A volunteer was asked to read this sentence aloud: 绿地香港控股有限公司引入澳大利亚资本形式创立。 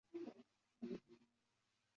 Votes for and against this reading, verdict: 2, 2, rejected